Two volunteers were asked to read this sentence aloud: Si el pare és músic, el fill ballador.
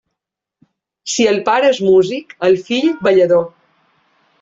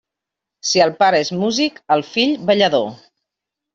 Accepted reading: second